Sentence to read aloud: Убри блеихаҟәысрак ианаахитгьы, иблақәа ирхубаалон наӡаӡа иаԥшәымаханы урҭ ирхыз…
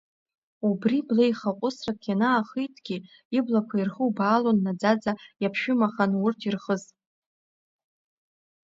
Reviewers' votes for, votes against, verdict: 2, 0, accepted